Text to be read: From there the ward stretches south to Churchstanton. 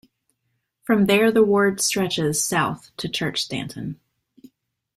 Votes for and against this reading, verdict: 2, 0, accepted